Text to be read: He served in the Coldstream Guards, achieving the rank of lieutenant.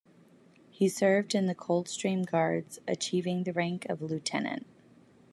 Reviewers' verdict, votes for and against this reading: accepted, 2, 0